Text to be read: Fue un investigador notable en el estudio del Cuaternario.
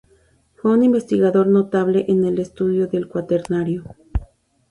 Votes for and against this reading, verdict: 2, 0, accepted